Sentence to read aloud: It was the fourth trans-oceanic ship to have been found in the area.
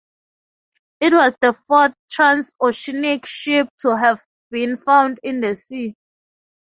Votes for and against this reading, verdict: 2, 2, rejected